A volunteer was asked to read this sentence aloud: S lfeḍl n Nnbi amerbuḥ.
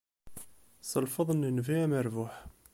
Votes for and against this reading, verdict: 2, 0, accepted